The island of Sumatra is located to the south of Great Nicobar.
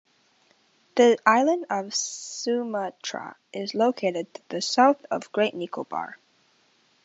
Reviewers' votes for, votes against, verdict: 2, 0, accepted